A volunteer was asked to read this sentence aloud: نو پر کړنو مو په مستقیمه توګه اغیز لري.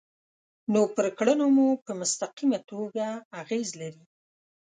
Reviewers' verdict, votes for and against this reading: accepted, 2, 0